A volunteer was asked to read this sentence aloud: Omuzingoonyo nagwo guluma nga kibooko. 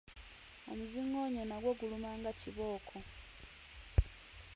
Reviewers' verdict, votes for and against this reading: accepted, 2, 0